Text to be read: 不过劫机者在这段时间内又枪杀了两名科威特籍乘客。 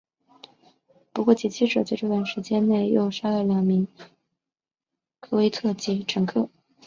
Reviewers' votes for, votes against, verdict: 1, 2, rejected